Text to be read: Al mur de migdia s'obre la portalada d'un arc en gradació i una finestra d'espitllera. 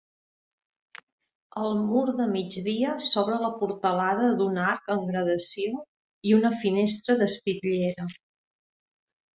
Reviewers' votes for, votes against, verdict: 2, 0, accepted